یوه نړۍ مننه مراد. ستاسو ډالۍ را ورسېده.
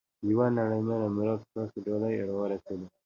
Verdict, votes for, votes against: rejected, 1, 2